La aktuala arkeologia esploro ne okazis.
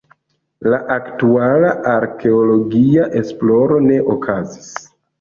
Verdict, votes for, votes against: accepted, 2, 1